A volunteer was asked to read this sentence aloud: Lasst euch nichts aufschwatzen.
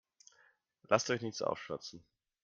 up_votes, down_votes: 2, 0